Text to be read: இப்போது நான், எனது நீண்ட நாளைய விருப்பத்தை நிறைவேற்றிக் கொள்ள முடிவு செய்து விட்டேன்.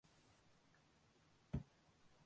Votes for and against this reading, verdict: 0, 2, rejected